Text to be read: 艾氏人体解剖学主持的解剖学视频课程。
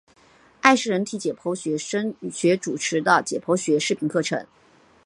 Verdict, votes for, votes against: rejected, 0, 2